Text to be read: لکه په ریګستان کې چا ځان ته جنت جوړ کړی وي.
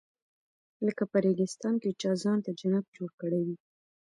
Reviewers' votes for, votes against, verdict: 0, 2, rejected